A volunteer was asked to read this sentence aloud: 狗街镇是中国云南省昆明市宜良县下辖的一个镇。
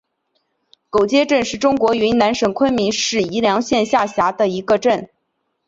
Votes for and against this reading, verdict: 5, 0, accepted